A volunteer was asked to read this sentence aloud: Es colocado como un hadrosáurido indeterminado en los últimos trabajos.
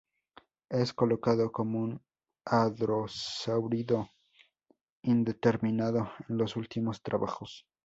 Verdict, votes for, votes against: accepted, 4, 0